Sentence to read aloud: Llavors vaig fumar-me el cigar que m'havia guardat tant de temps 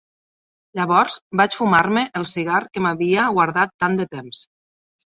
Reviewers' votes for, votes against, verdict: 3, 0, accepted